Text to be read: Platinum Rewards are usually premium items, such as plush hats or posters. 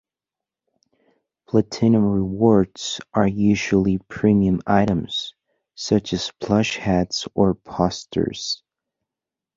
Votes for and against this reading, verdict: 2, 1, accepted